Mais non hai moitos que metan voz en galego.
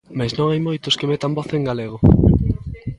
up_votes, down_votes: 1, 2